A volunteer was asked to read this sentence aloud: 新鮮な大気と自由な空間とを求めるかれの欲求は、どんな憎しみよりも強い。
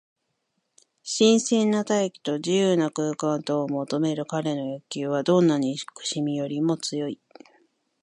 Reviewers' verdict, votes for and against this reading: accepted, 2, 1